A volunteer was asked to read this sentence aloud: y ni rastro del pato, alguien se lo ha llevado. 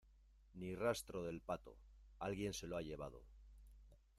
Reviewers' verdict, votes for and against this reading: rejected, 1, 2